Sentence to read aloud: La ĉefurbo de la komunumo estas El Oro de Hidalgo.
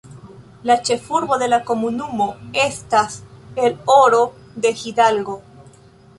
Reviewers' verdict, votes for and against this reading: accepted, 2, 0